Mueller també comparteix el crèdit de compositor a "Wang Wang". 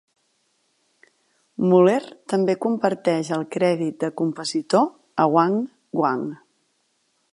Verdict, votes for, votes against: rejected, 1, 2